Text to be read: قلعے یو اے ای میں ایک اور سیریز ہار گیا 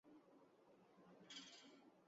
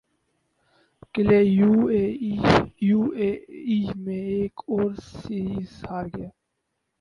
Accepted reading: second